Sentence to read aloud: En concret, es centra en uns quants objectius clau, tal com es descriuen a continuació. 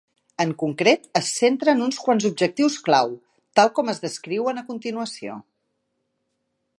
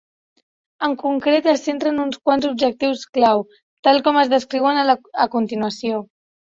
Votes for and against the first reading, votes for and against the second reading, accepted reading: 4, 0, 1, 2, first